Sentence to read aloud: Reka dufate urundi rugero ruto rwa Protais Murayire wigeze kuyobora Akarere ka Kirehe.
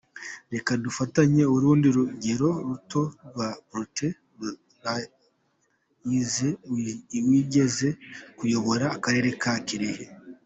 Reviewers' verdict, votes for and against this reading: rejected, 0, 2